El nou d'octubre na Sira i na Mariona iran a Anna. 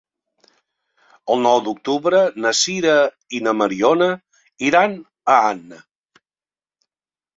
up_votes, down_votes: 4, 0